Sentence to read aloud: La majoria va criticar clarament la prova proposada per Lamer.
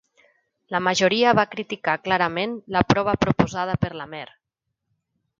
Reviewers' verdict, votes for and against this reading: rejected, 0, 2